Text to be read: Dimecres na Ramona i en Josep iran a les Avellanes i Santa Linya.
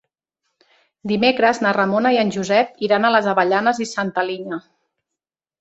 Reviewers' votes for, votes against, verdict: 3, 0, accepted